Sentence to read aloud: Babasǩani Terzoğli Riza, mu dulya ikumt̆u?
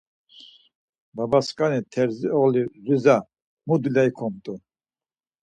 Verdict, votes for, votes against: accepted, 4, 0